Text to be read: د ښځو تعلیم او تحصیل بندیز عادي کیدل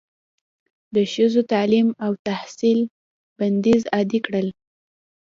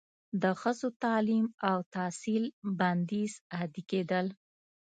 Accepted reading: second